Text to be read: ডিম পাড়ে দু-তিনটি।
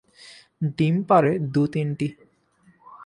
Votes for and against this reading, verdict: 2, 1, accepted